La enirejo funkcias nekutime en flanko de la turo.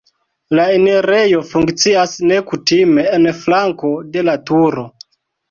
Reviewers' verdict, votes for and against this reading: rejected, 0, 2